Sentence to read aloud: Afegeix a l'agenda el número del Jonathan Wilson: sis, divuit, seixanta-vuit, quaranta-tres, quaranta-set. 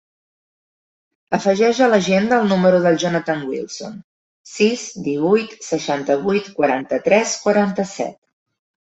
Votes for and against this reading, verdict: 3, 1, accepted